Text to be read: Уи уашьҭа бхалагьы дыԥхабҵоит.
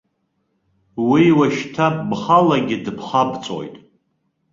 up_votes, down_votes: 1, 2